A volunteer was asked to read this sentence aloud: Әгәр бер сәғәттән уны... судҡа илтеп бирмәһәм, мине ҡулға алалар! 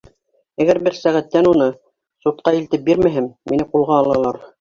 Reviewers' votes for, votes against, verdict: 1, 2, rejected